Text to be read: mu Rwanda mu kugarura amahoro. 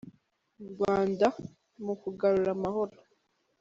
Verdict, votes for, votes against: accepted, 2, 1